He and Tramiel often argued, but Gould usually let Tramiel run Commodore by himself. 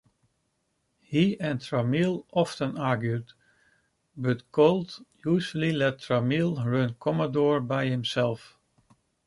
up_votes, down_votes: 2, 1